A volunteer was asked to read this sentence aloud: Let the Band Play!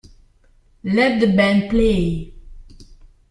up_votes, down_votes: 2, 0